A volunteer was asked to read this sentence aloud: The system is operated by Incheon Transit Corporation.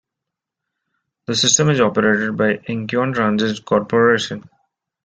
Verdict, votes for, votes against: accepted, 2, 0